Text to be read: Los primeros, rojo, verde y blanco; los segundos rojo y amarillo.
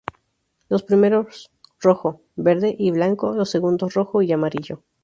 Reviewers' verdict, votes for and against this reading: accepted, 2, 0